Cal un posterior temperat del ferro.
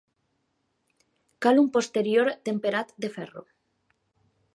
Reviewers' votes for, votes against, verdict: 0, 2, rejected